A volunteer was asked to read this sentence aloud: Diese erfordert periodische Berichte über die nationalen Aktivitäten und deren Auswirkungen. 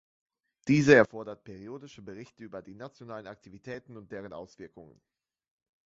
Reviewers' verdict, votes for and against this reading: rejected, 0, 2